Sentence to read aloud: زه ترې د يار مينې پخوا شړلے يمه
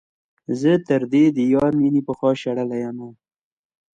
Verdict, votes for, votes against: accepted, 2, 0